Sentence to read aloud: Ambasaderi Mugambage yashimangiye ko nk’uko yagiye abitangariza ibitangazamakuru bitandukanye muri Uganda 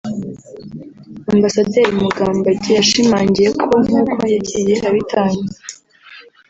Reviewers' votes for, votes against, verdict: 0, 2, rejected